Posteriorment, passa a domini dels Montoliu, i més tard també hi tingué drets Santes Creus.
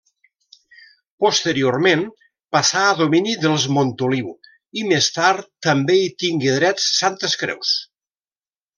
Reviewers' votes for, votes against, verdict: 0, 2, rejected